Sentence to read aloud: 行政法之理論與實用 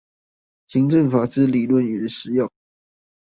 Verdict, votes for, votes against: rejected, 0, 2